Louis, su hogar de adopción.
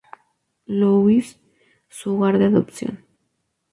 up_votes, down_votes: 2, 0